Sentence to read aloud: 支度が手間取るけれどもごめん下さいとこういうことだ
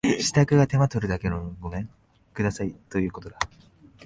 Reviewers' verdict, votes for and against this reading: rejected, 1, 2